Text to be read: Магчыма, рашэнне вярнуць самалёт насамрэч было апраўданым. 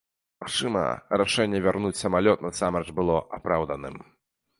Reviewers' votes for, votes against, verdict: 2, 0, accepted